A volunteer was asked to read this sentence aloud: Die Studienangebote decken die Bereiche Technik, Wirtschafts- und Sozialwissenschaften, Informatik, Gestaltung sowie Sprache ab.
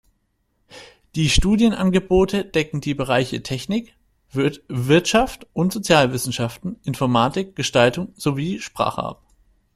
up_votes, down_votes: 0, 2